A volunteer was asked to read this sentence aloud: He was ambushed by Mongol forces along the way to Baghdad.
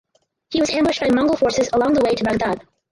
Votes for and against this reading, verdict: 2, 4, rejected